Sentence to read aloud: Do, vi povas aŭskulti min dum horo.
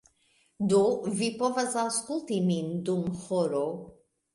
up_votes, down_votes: 2, 0